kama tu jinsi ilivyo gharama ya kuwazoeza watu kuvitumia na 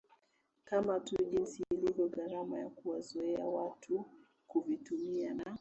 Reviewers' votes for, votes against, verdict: 2, 1, accepted